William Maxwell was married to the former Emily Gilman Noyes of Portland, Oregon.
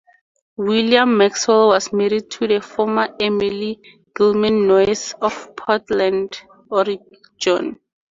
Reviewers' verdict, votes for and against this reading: rejected, 0, 2